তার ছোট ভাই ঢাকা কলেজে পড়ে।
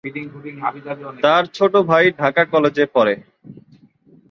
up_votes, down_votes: 0, 3